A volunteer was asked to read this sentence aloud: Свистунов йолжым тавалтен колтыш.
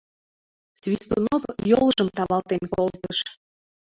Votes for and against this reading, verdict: 1, 2, rejected